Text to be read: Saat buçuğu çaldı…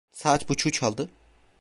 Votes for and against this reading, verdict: 2, 1, accepted